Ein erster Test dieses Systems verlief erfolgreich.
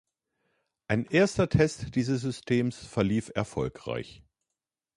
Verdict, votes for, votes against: accepted, 2, 0